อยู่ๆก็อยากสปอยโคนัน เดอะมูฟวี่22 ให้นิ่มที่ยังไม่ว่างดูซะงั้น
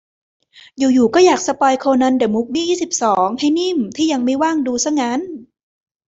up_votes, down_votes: 0, 2